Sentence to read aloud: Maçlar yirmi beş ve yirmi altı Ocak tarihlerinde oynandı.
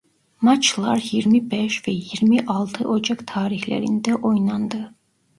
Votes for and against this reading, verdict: 2, 0, accepted